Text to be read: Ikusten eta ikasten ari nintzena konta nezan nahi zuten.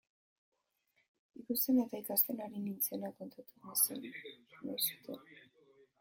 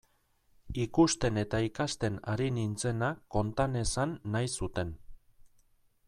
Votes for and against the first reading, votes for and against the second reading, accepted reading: 1, 2, 2, 0, second